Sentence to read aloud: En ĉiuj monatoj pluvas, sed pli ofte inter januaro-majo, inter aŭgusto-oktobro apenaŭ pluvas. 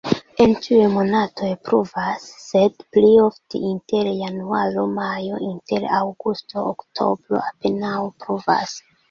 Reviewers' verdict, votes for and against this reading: accepted, 2, 1